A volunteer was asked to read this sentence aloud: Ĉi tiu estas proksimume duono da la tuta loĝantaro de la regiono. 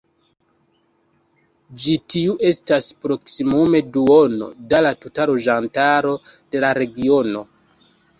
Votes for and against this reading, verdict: 2, 1, accepted